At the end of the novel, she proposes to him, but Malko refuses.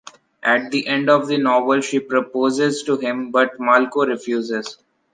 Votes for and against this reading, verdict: 2, 0, accepted